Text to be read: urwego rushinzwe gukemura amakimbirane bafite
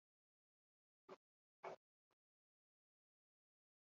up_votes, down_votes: 0, 4